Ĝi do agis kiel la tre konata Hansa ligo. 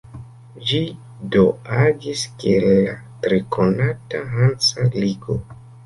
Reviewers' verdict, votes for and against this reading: rejected, 1, 2